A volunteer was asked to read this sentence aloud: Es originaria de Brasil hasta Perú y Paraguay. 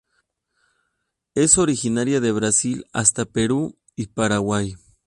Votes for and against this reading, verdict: 12, 0, accepted